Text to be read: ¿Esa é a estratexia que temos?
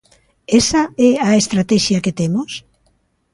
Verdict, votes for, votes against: accepted, 2, 0